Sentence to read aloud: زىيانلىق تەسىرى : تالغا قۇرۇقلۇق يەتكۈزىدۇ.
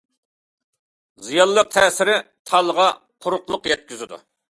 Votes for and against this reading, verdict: 2, 0, accepted